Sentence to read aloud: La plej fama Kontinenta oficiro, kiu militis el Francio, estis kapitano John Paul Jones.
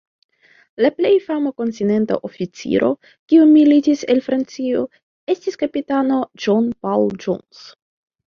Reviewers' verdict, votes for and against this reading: rejected, 1, 2